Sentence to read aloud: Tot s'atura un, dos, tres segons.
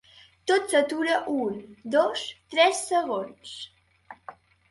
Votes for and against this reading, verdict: 2, 0, accepted